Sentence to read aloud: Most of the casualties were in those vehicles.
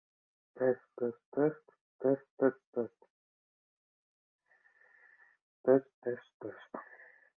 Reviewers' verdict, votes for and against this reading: rejected, 0, 3